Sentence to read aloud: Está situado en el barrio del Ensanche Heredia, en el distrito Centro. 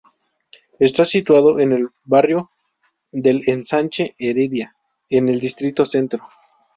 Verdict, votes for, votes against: rejected, 0, 2